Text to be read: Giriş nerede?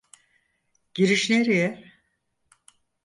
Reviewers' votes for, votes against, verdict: 0, 4, rejected